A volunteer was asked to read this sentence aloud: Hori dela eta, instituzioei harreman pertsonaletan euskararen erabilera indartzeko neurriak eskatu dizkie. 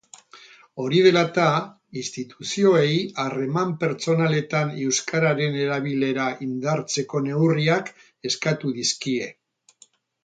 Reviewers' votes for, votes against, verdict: 0, 2, rejected